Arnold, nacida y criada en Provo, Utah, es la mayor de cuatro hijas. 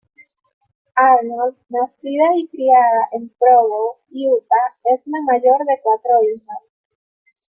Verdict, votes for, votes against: rejected, 1, 2